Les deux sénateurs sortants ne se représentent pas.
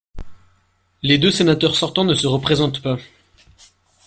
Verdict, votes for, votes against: rejected, 1, 2